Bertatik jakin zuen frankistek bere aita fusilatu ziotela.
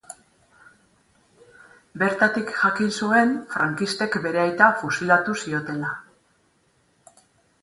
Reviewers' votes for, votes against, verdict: 2, 2, rejected